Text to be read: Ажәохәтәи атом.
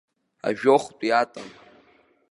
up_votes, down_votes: 2, 3